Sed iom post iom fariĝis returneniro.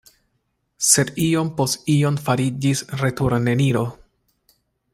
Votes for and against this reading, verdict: 2, 0, accepted